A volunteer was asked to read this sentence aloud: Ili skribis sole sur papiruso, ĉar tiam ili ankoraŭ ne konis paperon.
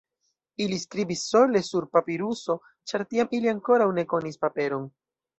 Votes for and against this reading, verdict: 2, 0, accepted